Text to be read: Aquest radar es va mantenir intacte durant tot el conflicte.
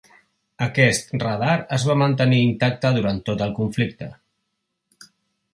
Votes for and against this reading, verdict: 3, 0, accepted